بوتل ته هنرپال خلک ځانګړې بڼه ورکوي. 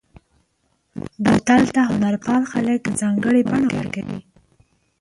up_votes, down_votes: 0, 4